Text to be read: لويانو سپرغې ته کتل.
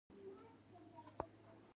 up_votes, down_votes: 2, 0